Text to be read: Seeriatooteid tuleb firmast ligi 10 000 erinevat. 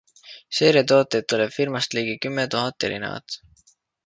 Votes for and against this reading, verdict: 0, 2, rejected